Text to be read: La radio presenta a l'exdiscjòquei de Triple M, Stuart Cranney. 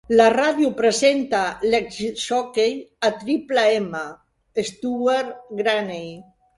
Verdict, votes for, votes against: rejected, 1, 3